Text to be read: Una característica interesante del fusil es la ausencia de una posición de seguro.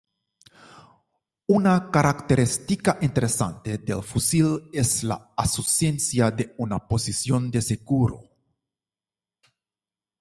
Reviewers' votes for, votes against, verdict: 0, 2, rejected